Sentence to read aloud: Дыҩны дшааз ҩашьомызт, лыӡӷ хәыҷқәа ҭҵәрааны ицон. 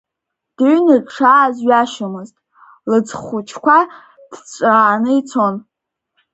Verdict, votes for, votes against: rejected, 1, 2